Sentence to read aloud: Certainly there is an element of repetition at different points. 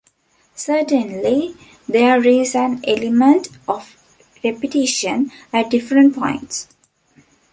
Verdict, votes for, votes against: accepted, 2, 0